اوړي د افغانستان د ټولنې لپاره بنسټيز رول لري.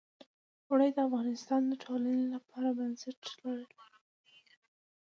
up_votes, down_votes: 1, 2